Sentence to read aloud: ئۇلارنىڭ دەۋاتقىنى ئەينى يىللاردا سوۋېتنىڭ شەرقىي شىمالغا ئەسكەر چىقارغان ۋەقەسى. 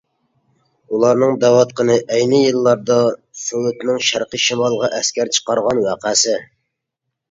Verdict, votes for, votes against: accepted, 2, 0